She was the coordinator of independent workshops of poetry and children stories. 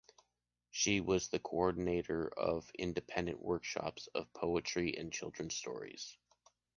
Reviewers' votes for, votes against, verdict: 2, 0, accepted